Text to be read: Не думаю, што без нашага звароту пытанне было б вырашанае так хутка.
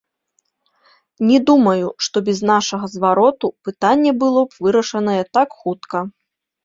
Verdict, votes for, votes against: accepted, 2, 0